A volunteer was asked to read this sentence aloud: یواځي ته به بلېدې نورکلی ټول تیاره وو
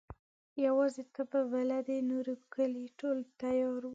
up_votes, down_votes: 0, 2